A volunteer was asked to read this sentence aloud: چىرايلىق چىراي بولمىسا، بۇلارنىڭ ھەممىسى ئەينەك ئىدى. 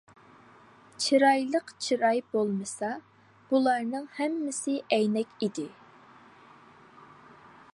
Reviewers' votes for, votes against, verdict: 2, 0, accepted